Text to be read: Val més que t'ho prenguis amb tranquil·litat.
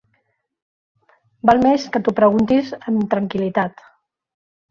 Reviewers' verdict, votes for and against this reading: rejected, 0, 2